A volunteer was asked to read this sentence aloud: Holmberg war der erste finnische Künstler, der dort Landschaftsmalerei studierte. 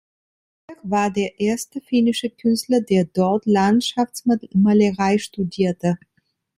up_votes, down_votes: 0, 2